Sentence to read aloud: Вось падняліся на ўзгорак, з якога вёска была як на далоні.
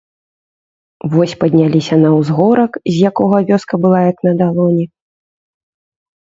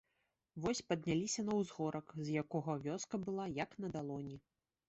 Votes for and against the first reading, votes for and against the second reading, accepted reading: 2, 0, 1, 2, first